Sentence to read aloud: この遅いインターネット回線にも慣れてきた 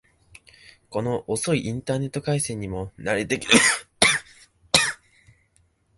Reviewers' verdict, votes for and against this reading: rejected, 1, 3